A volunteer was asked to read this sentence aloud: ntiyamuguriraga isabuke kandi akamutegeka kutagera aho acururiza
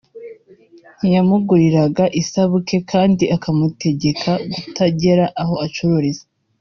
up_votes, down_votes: 0, 2